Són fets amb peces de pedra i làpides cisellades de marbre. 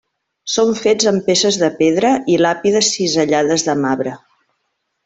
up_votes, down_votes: 1, 2